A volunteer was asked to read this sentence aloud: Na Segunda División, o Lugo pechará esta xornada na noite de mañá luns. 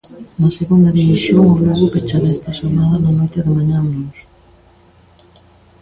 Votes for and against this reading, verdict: 1, 2, rejected